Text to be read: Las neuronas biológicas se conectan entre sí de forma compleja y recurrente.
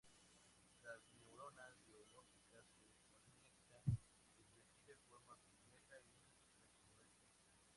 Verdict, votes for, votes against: rejected, 0, 2